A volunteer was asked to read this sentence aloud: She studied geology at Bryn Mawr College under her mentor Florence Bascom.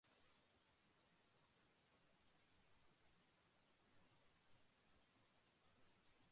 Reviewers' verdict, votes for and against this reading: rejected, 0, 5